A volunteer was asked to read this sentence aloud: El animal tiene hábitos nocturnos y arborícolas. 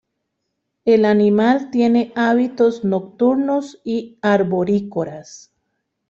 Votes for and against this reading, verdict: 1, 2, rejected